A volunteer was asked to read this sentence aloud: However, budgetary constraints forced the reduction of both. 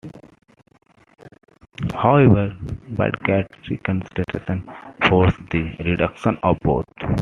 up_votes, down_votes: 2, 1